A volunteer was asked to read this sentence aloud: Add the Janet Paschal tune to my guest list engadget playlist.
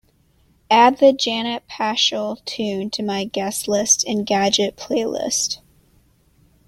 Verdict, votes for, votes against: accepted, 2, 0